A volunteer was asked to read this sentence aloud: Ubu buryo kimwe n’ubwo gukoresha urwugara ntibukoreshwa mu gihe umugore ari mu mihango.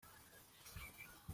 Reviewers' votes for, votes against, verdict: 0, 2, rejected